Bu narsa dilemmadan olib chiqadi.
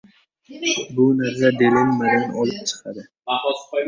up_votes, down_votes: 0, 2